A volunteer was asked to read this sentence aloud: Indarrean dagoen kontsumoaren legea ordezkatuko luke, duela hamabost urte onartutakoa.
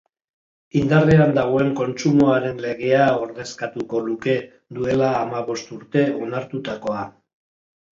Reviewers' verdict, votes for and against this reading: accepted, 3, 0